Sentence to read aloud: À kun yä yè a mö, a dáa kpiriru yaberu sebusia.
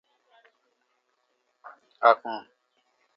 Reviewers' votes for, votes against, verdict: 0, 2, rejected